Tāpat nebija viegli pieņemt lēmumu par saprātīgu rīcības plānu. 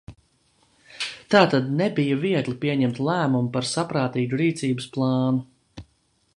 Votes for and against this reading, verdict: 0, 2, rejected